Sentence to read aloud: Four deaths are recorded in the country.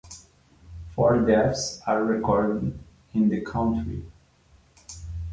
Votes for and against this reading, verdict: 2, 0, accepted